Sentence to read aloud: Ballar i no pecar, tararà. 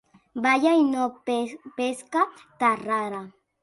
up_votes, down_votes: 1, 2